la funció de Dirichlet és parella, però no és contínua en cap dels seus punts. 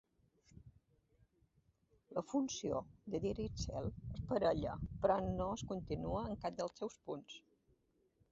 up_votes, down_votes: 0, 2